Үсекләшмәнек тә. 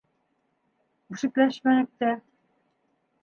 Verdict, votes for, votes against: accepted, 2, 0